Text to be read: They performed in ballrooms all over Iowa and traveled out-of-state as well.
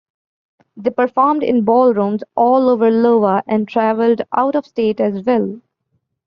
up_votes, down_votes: 1, 2